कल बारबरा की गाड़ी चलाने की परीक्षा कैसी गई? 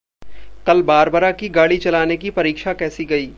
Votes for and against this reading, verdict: 2, 0, accepted